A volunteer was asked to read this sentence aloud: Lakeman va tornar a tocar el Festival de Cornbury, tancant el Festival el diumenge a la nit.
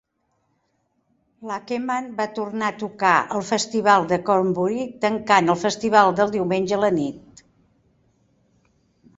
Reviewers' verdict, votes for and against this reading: rejected, 0, 2